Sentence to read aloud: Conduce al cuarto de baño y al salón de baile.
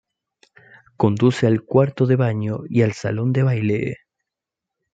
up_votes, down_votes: 2, 1